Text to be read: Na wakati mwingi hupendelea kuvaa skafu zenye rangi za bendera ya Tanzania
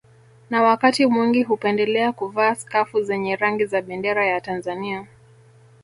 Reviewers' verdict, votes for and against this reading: rejected, 1, 2